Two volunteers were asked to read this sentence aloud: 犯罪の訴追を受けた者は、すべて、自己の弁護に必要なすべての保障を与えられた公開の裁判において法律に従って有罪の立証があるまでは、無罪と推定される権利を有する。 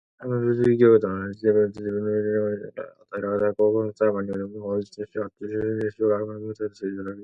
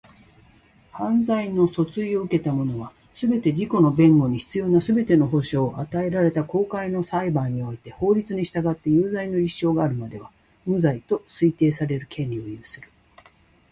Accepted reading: second